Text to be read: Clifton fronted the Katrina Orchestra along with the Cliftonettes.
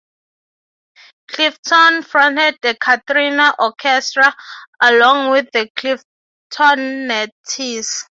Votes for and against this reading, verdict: 0, 6, rejected